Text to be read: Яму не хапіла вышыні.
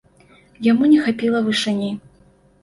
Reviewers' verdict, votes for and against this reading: accepted, 2, 0